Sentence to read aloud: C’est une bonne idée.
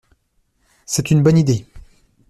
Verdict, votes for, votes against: accepted, 2, 0